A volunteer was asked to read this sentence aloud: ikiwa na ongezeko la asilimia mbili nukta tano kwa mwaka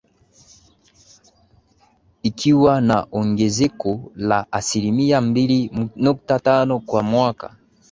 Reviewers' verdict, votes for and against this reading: accepted, 2, 0